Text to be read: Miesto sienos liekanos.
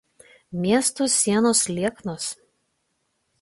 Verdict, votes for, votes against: rejected, 1, 2